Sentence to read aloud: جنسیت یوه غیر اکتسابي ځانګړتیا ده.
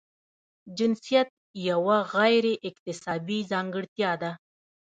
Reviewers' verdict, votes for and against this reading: rejected, 0, 2